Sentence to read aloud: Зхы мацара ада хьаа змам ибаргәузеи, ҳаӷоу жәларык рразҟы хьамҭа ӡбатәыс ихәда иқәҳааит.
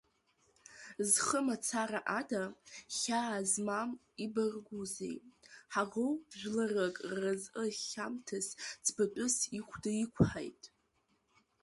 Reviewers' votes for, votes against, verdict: 2, 1, accepted